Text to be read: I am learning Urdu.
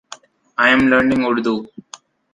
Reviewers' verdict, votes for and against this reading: accepted, 2, 0